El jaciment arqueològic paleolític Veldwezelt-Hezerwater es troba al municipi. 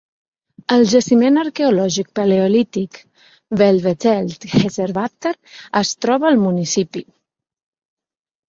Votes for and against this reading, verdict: 2, 0, accepted